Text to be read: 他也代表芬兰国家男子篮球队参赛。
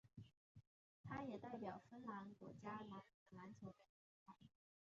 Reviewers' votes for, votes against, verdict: 2, 1, accepted